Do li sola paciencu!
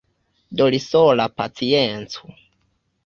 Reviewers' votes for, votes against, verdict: 2, 1, accepted